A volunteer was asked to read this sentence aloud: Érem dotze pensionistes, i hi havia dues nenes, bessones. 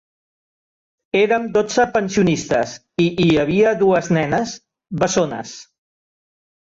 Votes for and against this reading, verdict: 2, 0, accepted